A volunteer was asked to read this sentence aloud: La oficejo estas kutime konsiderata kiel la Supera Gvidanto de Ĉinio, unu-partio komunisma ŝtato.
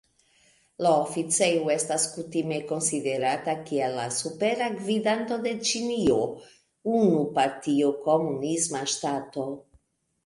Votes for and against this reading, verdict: 1, 2, rejected